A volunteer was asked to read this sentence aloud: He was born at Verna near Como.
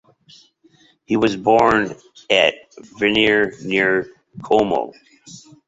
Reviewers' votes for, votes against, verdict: 0, 2, rejected